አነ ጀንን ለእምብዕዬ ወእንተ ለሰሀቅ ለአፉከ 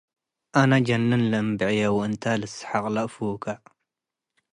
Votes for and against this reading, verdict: 2, 0, accepted